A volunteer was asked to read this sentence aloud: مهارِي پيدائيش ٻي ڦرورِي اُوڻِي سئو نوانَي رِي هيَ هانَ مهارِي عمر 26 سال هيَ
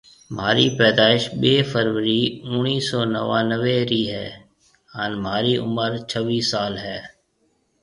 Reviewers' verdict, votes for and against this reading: rejected, 0, 2